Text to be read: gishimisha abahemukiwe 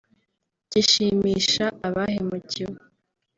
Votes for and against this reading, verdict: 2, 0, accepted